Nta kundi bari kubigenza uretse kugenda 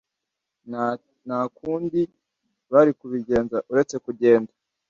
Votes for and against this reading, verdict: 0, 2, rejected